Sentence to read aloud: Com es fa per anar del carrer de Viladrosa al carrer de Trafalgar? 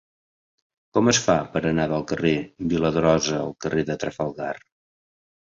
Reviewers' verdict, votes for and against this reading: rejected, 0, 2